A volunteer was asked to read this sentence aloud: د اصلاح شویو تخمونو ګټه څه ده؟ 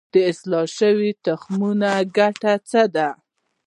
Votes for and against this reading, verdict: 0, 2, rejected